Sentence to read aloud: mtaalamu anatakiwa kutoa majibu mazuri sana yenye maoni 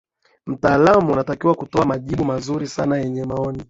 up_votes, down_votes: 2, 0